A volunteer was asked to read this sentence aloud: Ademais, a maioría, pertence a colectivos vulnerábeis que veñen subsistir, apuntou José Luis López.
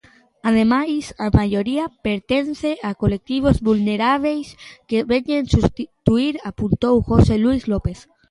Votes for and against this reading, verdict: 0, 2, rejected